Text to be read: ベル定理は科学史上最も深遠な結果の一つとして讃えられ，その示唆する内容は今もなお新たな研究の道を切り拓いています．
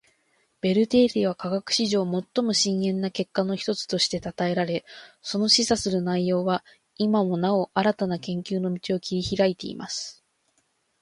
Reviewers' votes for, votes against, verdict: 2, 0, accepted